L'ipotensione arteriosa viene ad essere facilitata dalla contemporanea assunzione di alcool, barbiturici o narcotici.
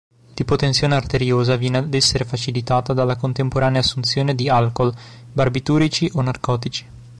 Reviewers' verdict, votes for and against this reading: accepted, 2, 0